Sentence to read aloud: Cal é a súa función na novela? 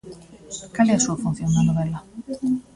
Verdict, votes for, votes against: rejected, 0, 2